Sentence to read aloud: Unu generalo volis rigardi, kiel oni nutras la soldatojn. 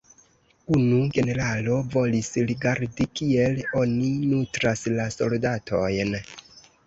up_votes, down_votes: 1, 2